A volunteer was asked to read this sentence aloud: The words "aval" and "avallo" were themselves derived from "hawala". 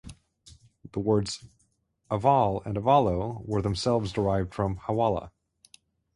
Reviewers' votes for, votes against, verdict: 4, 0, accepted